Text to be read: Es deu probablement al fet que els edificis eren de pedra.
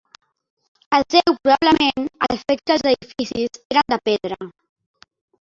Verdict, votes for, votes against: accepted, 2, 1